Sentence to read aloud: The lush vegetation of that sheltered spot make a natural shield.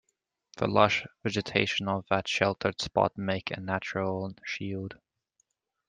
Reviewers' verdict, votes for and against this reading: accepted, 2, 0